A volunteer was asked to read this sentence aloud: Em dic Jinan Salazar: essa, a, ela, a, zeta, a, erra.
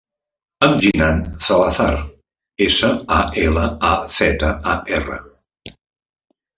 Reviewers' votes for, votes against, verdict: 0, 2, rejected